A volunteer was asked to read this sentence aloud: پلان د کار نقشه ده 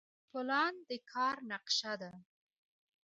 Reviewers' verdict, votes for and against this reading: accepted, 2, 0